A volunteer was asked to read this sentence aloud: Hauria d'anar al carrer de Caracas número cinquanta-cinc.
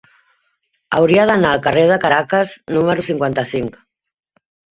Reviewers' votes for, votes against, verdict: 3, 0, accepted